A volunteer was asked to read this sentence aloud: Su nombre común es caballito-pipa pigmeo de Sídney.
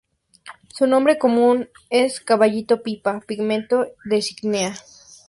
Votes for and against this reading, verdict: 0, 2, rejected